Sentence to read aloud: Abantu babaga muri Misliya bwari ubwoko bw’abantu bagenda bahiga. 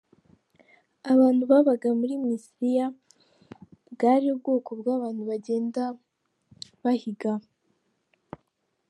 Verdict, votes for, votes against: accepted, 2, 0